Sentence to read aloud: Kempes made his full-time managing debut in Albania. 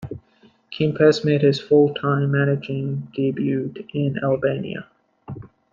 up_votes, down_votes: 2, 0